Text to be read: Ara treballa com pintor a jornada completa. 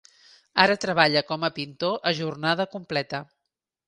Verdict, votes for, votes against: rejected, 0, 2